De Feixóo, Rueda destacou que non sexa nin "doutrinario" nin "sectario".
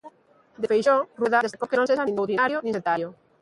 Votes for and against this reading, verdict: 0, 2, rejected